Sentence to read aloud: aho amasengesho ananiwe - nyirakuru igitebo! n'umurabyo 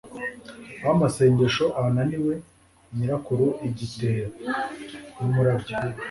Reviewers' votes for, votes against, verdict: 2, 0, accepted